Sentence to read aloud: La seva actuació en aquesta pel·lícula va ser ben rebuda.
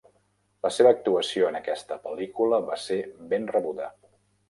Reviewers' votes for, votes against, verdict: 3, 0, accepted